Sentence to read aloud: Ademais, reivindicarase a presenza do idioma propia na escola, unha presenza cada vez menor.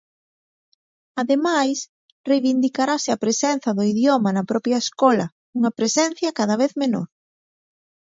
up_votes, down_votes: 0, 2